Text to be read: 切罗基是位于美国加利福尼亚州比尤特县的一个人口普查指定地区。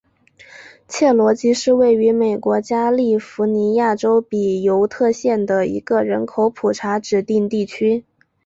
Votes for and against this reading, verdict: 2, 1, accepted